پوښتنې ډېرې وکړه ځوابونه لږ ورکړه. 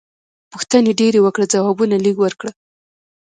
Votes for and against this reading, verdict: 2, 0, accepted